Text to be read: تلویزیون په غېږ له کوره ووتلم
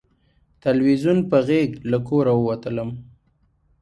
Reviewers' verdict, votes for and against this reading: accepted, 2, 0